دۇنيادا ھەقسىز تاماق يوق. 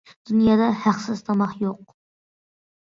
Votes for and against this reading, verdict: 2, 0, accepted